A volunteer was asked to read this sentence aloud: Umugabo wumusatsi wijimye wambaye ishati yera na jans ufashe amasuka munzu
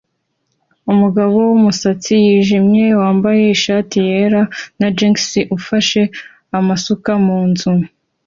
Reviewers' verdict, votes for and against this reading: accepted, 2, 0